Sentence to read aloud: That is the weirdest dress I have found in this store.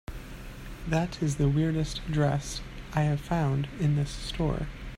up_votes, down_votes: 2, 0